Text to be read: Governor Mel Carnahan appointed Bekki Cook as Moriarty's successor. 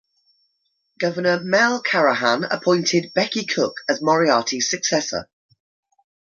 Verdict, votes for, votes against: rejected, 0, 2